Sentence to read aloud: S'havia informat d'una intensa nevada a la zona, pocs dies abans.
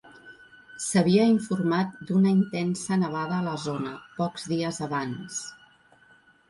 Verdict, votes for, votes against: accepted, 4, 1